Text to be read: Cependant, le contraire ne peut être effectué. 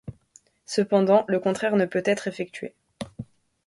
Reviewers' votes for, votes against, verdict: 2, 0, accepted